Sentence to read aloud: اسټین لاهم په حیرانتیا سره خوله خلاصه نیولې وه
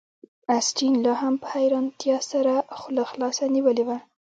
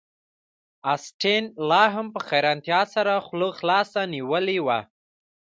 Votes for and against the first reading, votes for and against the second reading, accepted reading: 0, 2, 2, 0, second